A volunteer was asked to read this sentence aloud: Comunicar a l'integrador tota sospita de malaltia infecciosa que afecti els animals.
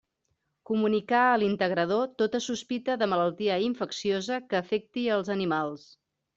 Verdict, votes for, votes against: accepted, 3, 0